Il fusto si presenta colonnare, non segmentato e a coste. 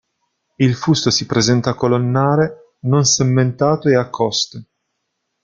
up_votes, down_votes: 1, 2